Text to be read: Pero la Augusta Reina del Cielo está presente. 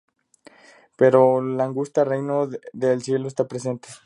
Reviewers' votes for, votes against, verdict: 0, 2, rejected